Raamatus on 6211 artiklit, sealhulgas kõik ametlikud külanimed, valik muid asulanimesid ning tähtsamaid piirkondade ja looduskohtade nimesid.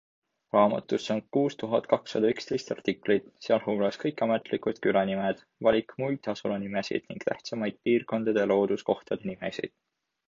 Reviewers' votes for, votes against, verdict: 0, 2, rejected